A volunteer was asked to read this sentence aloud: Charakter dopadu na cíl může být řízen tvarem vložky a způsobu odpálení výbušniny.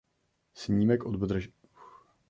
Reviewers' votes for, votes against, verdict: 0, 2, rejected